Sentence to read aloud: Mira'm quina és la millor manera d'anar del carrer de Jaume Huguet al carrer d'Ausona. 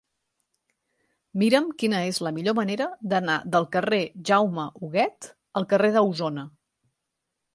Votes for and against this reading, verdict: 1, 2, rejected